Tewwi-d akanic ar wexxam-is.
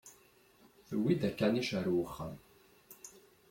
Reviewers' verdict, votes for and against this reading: rejected, 1, 2